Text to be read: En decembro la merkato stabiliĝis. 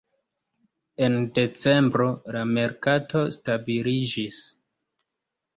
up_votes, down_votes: 1, 2